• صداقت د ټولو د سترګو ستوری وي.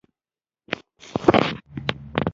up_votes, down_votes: 0, 2